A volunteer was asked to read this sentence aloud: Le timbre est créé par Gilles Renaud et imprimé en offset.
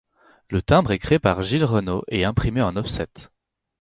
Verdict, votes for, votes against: accepted, 4, 0